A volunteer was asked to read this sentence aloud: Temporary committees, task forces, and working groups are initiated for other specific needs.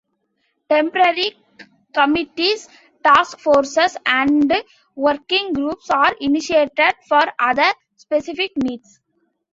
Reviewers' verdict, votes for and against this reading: accepted, 2, 0